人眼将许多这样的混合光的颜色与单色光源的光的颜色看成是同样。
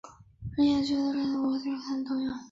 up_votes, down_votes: 0, 2